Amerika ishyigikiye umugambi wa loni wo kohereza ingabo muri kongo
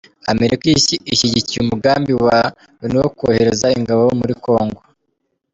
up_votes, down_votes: 0, 2